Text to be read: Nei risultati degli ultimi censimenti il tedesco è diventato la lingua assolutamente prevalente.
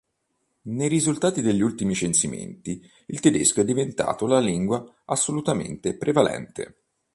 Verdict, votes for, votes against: accepted, 2, 0